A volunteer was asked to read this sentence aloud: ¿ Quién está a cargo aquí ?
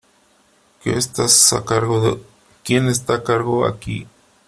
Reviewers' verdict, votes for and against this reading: rejected, 0, 3